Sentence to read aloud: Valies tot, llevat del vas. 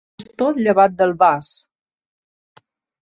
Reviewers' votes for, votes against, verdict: 0, 2, rejected